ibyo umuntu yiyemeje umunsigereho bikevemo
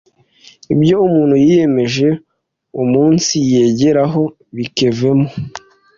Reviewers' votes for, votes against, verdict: 1, 2, rejected